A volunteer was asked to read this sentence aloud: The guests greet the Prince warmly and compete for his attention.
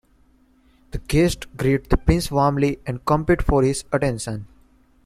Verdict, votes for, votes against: rejected, 1, 2